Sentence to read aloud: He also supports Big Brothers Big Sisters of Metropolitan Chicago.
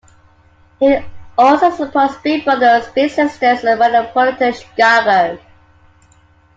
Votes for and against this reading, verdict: 2, 0, accepted